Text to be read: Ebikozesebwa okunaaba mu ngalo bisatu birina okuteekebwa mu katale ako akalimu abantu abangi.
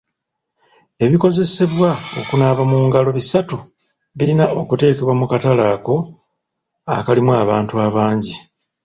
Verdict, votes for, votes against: accepted, 2, 0